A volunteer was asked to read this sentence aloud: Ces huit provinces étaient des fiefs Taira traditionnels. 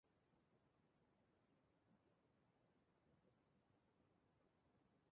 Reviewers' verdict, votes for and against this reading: rejected, 0, 2